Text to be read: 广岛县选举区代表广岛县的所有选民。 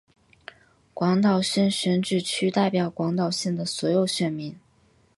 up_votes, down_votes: 1, 2